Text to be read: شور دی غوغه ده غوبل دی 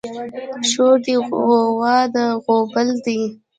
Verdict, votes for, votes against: rejected, 0, 2